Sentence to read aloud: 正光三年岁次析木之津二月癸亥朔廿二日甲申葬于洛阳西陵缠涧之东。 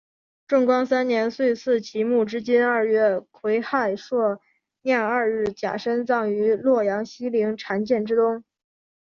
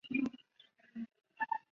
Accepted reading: first